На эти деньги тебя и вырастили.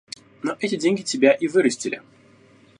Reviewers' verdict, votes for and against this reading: rejected, 1, 2